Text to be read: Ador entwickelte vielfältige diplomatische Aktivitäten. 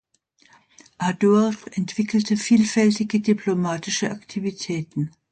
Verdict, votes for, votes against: accepted, 2, 0